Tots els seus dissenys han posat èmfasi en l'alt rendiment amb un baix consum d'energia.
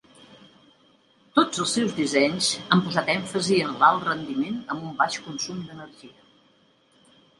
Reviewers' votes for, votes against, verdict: 2, 0, accepted